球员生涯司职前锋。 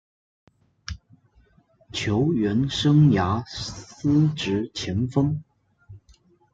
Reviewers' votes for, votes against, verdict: 0, 2, rejected